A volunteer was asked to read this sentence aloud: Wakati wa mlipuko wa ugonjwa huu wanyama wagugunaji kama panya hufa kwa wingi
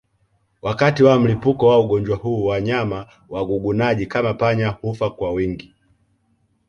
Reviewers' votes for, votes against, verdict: 2, 0, accepted